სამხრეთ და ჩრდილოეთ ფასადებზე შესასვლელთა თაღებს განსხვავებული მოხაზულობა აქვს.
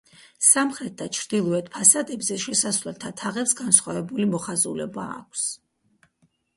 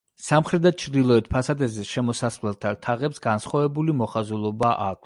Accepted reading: first